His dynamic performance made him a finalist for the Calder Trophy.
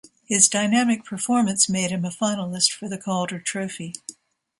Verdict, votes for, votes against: accepted, 2, 0